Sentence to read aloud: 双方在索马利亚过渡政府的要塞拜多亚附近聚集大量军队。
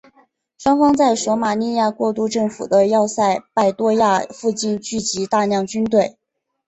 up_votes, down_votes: 5, 1